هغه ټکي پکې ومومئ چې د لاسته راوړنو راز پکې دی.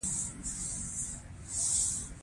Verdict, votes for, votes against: accepted, 2, 0